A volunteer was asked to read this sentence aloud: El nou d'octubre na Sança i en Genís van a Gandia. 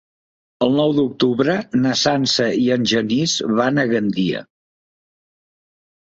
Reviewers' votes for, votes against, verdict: 3, 0, accepted